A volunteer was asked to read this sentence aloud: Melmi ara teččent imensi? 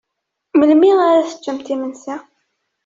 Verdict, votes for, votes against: accepted, 2, 1